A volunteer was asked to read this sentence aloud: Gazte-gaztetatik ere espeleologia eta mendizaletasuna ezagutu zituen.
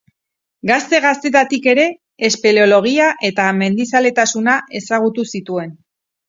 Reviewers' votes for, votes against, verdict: 2, 0, accepted